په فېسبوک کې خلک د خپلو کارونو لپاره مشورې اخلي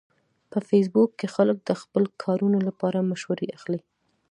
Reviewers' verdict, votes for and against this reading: accepted, 2, 0